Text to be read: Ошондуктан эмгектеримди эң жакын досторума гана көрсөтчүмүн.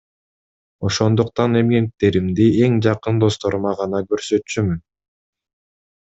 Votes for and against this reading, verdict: 0, 2, rejected